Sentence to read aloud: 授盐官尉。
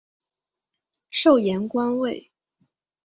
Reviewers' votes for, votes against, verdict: 3, 0, accepted